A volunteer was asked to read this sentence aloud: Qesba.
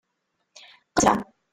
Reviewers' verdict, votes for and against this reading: rejected, 0, 2